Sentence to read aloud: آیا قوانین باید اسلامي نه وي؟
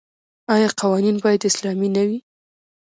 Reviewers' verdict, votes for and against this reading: accepted, 2, 1